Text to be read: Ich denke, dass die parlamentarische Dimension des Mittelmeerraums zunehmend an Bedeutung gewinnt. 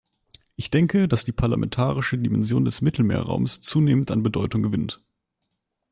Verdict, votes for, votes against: accepted, 2, 0